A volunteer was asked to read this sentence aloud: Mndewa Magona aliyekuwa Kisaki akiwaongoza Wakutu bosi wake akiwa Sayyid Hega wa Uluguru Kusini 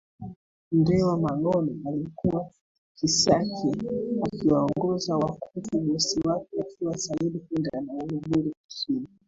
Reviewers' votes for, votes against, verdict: 2, 1, accepted